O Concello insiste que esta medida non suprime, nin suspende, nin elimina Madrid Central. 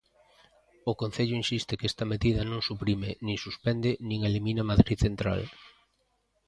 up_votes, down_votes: 2, 0